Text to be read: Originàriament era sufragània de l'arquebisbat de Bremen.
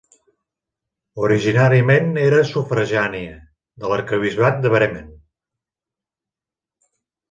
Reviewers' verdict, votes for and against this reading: rejected, 1, 2